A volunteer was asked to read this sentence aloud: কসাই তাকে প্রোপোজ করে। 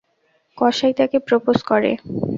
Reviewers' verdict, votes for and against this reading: accepted, 2, 0